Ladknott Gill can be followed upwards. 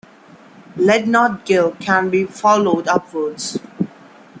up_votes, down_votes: 1, 2